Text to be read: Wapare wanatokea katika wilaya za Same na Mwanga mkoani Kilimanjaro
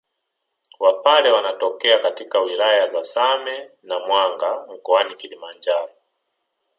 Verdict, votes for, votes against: accepted, 2, 1